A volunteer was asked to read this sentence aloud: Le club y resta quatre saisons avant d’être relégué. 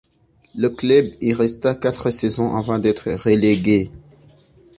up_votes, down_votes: 2, 0